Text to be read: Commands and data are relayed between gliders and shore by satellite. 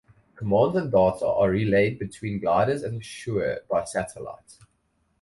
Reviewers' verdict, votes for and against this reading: rejected, 0, 2